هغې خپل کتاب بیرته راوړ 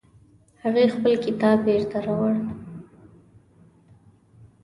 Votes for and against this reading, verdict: 2, 0, accepted